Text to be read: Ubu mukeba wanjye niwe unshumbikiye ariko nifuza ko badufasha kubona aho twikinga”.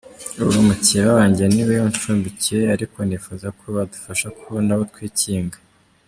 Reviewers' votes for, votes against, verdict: 2, 0, accepted